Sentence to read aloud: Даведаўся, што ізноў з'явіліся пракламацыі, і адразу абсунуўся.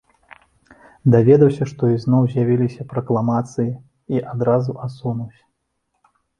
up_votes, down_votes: 1, 2